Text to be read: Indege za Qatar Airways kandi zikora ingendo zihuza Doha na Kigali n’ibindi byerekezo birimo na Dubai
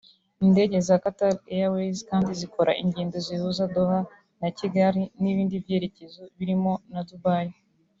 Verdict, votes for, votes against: accepted, 3, 0